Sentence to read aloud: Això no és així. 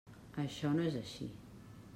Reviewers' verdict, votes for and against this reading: accepted, 3, 0